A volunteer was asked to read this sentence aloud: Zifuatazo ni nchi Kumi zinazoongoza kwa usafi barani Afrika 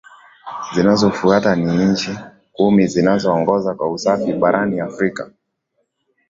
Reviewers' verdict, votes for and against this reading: accepted, 2, 1